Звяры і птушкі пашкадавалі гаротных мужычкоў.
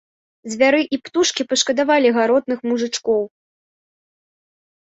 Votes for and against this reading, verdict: 2, 0, accepted